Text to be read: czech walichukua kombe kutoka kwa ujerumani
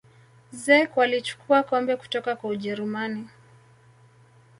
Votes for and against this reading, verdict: 2, 0, accepted